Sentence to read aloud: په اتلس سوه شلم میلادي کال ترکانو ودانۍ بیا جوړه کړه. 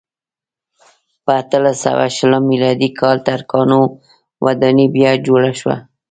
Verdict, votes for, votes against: accepted, 2, 1